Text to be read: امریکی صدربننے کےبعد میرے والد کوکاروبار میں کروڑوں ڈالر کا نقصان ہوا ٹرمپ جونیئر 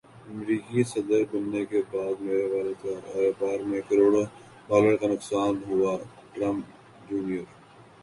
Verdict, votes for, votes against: accepted, 2, 0